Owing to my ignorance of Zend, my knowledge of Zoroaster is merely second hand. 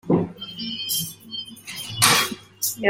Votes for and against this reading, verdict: 0, 2, rejected